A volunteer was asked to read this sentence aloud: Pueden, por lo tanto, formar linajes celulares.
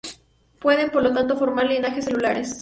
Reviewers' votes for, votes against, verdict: 0, 2, rejected